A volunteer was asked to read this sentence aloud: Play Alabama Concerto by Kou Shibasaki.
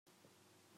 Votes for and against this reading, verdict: 0, 2, rejected